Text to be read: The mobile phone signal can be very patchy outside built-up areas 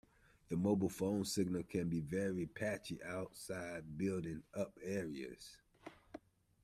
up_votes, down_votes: 1, 2